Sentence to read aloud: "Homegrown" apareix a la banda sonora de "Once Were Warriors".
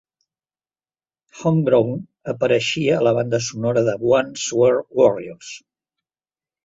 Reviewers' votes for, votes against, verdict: 0, 2, rejected